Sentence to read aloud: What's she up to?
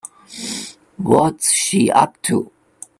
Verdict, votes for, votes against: accepted, 2, 0